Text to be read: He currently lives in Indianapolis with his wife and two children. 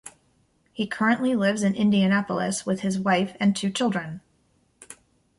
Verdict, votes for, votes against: accepted, 2, 0